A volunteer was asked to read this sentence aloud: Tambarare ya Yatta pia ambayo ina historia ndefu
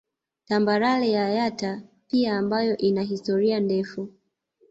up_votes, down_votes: 5, 0